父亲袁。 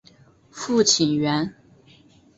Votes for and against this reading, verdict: 3, 0, accepted